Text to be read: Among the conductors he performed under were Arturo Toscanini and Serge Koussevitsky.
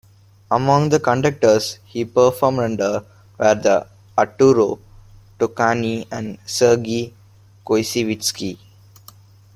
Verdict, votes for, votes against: rejected, 1, 2